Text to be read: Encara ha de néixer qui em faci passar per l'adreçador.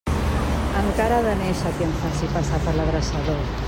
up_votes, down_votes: 2, 1